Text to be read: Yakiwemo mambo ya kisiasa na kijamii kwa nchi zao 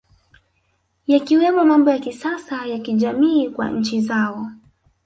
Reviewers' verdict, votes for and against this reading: rejected, 2, 3